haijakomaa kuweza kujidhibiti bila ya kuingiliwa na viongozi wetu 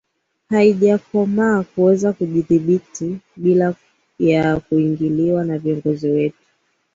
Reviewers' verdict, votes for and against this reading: accepted, 3, 0